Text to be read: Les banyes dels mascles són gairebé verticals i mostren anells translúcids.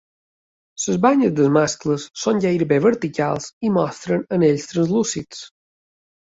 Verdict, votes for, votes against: rejected, 1, 3